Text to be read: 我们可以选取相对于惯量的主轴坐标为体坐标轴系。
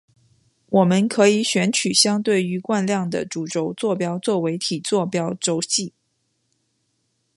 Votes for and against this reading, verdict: 2, 0, accepted